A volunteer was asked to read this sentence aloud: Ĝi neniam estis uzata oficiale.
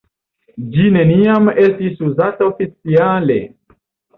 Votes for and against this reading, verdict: 1, 2, rejected